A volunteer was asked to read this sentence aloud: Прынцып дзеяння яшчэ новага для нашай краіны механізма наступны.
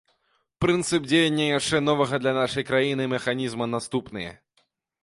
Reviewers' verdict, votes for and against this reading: rejected, 0, 2